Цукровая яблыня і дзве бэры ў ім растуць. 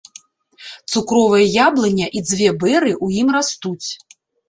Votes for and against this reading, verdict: 1, 2, rejected